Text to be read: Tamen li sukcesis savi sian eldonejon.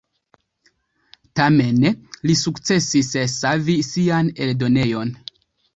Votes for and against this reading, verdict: 1, 2, rejected